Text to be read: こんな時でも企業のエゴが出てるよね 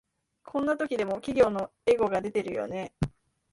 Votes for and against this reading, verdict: 4, 1, accepted